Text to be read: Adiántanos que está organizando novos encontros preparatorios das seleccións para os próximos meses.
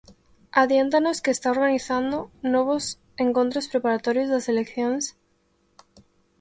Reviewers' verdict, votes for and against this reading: rejected, 0, 2